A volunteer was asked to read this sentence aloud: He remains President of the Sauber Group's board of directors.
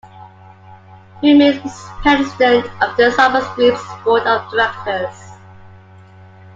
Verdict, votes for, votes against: accepted, 2, 0